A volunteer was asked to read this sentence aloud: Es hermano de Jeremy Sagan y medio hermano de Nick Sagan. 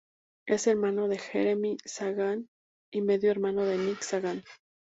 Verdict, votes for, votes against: accepted, 2, 0